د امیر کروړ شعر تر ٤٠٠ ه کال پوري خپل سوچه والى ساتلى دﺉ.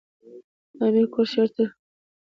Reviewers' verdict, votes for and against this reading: rejected, 0, 2